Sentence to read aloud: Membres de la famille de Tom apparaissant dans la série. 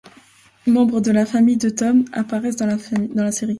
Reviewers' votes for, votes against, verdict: 0, 2, rejected